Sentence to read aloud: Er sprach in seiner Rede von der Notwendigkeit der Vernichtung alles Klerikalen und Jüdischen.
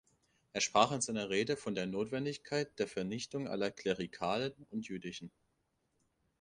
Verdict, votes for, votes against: rejected, 0, 2